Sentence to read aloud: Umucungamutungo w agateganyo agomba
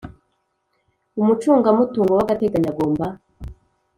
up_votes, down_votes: 2, 0